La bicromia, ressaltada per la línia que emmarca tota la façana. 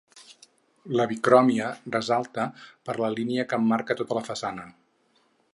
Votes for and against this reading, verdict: 0, 4, rejected